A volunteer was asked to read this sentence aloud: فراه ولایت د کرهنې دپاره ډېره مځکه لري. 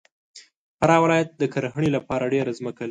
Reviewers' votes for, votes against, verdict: 0, 2, rejected